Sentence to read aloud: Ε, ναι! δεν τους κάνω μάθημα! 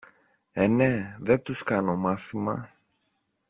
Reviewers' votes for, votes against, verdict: 2, 1, accepted